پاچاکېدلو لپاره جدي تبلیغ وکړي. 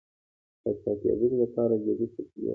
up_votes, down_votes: 3, 0